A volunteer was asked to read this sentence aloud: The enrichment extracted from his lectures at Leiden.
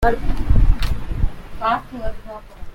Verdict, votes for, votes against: rejected, 0, 2